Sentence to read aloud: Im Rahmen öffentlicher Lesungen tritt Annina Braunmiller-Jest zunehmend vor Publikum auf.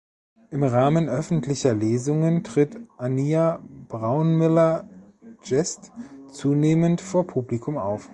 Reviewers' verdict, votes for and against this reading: rejected, 1, 2